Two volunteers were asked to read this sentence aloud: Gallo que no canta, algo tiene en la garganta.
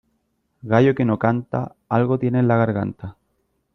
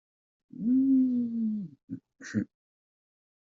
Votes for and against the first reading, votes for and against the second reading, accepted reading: 3, 0, 0, 2, first